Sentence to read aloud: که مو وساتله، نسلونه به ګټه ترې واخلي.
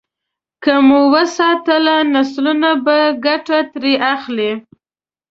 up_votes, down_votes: 1, 2